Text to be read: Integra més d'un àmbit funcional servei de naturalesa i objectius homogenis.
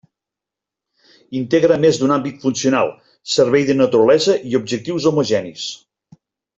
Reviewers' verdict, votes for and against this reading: accepted, 3, 0